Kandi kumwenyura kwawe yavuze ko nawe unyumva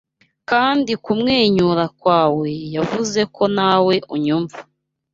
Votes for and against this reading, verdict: 3, 0, accepted